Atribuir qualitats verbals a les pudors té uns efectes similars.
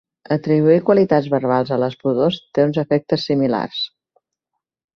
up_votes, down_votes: 2, 0